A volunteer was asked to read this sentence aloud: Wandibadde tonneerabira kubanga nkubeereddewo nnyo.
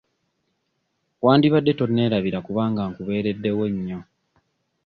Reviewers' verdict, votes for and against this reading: accepted, 2, 0